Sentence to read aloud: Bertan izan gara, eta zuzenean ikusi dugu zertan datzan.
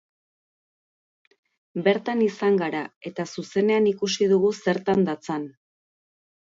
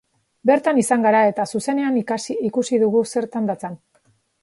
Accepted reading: first